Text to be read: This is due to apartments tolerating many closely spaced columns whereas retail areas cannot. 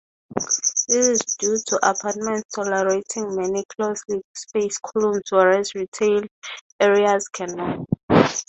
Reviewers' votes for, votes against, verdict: 0, 3, rejected